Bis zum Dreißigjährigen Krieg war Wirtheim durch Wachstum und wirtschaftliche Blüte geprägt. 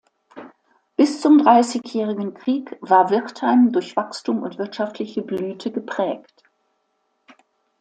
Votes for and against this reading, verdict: 2, 0, accepted